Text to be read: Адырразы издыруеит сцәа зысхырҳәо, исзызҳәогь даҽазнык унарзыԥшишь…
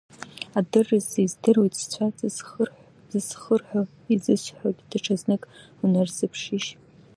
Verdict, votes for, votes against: rejected, 1, 2